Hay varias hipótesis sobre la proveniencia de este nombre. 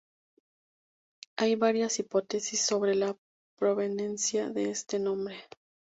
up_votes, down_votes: 2, 4